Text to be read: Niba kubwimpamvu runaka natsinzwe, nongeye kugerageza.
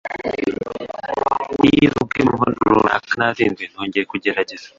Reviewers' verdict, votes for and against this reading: rejected, 1, 2